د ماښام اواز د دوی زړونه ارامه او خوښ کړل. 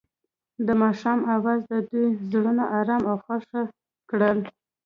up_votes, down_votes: 2, 1